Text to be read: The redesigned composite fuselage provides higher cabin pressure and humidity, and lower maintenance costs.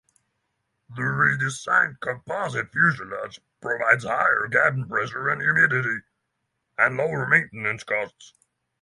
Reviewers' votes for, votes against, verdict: 0, 6, rejected